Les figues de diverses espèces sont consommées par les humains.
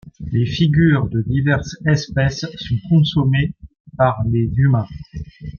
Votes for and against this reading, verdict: 0, 2, rejected